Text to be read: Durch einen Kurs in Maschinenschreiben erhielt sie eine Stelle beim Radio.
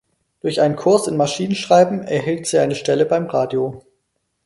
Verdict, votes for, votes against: accepted, 4, 0